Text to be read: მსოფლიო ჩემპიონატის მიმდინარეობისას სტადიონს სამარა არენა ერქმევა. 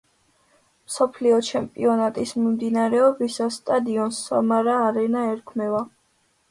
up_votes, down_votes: 2, 0